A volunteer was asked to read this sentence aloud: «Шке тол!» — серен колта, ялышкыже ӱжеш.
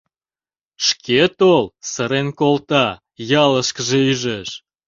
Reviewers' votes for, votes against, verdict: 0, 2, rejected